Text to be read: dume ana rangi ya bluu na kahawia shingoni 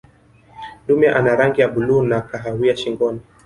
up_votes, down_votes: 0, 2